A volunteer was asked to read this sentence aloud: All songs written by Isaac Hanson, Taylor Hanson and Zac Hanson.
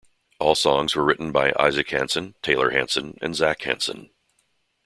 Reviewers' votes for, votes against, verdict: 2, 1, accepted